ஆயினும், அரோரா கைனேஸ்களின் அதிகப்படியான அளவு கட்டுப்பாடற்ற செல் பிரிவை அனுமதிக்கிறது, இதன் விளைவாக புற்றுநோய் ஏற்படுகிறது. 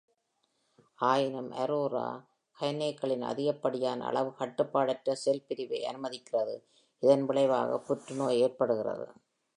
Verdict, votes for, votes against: accepted, 2, 0